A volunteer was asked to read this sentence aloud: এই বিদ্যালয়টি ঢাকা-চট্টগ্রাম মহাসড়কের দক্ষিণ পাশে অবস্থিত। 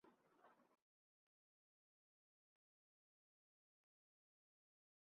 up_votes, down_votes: 0, 2